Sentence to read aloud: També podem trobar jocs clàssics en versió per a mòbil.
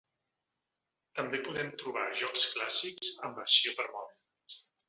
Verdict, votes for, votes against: accepted, 2, 1